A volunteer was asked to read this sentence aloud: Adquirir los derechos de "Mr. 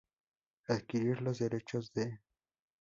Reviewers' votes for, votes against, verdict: 0, 4, rejected